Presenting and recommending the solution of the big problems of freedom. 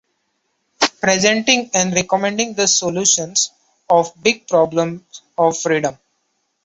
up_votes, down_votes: 0, 2